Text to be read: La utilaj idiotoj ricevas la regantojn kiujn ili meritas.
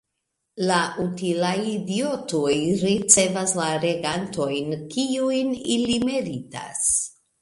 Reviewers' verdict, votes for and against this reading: rejected, 0, 2